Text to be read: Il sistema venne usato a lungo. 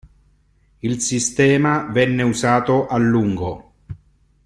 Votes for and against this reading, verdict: 2, 0, accepted